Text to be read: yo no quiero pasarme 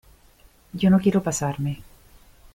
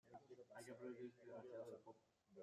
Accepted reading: first